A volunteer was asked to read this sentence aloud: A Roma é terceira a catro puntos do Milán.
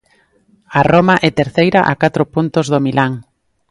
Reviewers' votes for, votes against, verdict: 2, 0, accepted